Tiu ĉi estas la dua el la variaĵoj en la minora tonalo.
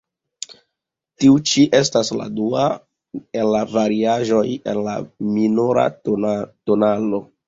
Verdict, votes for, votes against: rejected, 1, 2